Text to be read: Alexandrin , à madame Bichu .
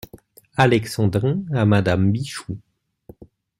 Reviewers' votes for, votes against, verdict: 0, 2, rejected